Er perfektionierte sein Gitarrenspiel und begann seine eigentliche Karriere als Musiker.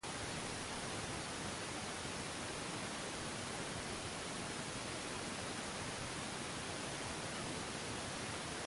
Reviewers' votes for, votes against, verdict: 0, 2, rejected